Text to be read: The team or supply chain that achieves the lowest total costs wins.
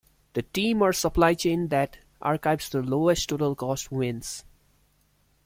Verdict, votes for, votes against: rejected, 0, 2